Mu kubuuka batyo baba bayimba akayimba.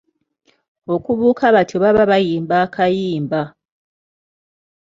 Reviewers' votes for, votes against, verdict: 1, 2, rejected